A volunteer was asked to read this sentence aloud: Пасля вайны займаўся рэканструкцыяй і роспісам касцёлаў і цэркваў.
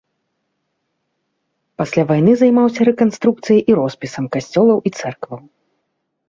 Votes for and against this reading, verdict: 2, 0, accepted